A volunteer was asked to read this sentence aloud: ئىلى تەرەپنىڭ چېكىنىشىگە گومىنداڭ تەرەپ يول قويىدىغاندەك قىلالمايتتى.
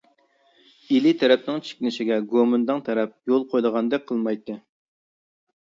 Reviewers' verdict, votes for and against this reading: rejected, 0, 2